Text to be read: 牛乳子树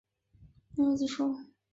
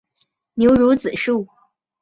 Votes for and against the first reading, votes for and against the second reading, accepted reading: 0, 3, 2, 0, second